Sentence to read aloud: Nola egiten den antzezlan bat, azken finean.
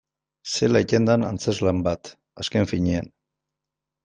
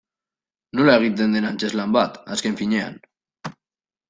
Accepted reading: second